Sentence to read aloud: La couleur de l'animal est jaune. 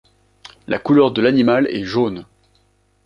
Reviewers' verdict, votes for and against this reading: accepted, 2, 0